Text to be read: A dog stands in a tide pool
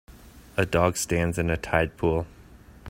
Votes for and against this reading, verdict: 2, 0, accepted